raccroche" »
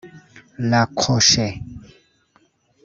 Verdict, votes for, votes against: rejected, 1, 2